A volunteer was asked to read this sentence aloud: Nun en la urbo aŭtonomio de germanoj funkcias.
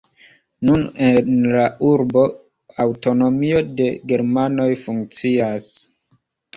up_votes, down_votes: 2, 0